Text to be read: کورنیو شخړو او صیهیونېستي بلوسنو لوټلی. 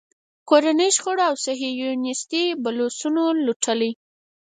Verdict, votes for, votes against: rejected, 2, 4